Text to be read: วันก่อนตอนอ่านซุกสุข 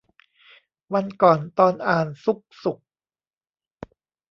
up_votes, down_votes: 2, 0